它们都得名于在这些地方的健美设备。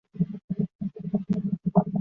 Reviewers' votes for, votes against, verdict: 1, 3, rejected